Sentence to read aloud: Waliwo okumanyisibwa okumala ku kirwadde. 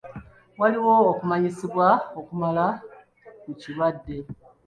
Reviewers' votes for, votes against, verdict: 1, 2, rejected